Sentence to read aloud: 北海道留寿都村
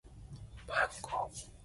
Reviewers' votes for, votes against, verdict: 6, 19, rejected